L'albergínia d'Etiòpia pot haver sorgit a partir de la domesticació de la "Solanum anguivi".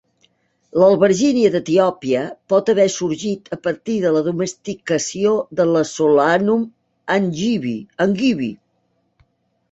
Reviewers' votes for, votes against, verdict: 0, 2, rejected